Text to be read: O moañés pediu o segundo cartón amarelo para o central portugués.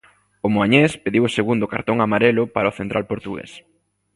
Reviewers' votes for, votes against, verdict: 2, 0, accepted